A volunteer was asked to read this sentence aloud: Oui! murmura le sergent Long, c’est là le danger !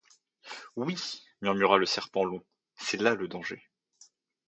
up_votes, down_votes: 0, 2